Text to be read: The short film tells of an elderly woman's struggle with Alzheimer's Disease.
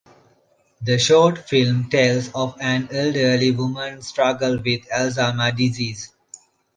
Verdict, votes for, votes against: rejected, 1, 2